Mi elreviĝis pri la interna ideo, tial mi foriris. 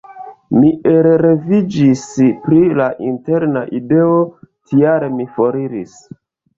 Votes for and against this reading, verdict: 1, 2, rejected